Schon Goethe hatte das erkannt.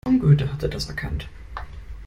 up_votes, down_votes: 0, 2